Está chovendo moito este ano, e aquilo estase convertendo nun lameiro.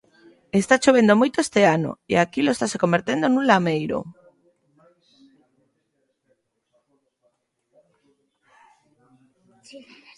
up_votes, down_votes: 2, 0